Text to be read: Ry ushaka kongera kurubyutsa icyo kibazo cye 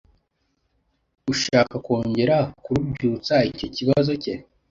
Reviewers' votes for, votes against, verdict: 0, 2, rejected